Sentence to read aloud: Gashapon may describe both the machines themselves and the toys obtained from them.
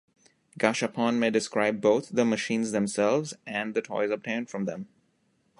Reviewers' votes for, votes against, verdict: 2, 0, accepted